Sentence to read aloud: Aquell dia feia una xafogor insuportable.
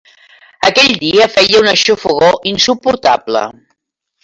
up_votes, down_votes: 2, 1